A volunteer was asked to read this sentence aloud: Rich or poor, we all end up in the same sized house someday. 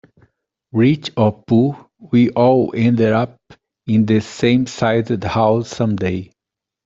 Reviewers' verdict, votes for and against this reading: accepted, 2, 0